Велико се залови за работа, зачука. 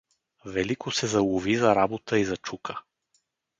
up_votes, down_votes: 0, 2